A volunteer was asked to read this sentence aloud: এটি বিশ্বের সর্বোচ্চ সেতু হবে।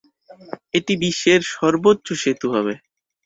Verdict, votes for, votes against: accepted, 4, 0